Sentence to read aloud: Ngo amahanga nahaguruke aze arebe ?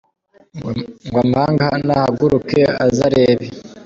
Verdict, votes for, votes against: rejected, 1, 2